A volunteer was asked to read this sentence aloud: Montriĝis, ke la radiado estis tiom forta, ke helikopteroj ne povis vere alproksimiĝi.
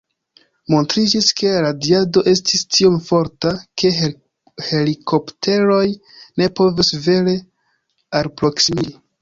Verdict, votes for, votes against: rejected, 0, 2